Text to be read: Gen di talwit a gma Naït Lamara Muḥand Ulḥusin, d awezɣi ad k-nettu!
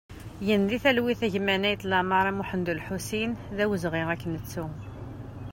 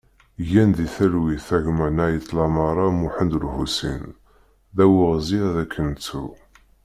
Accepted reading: first